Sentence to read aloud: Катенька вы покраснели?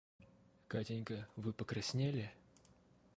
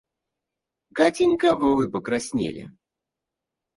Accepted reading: first